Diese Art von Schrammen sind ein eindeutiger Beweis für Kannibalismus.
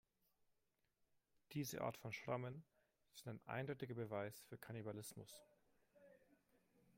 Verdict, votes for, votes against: accepted, 2, 1